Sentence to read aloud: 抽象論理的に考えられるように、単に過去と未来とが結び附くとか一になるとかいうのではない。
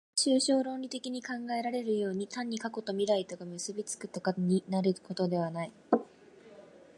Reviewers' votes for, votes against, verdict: 2, 0, accepted